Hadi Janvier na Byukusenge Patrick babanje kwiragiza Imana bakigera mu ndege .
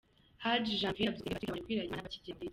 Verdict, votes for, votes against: rejected, 0, 2